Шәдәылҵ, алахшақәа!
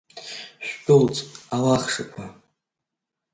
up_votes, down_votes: 1, 2